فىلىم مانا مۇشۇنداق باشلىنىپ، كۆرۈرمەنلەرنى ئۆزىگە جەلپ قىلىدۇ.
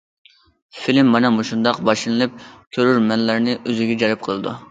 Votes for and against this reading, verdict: 2, 0, accepted